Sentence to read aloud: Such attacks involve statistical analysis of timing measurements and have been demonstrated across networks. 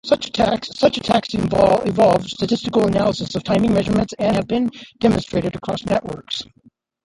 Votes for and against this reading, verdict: 1, 2, rejected